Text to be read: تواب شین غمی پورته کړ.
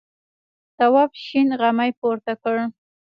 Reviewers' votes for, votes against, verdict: 0, 2, rejected